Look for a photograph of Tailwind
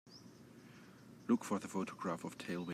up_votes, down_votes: 1, 2